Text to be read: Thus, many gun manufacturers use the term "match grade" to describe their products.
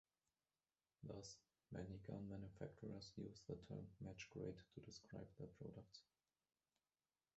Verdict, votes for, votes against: rejected, 0, 2